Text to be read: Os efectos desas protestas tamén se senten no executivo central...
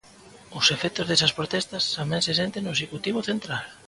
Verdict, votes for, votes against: accepted, 3, 0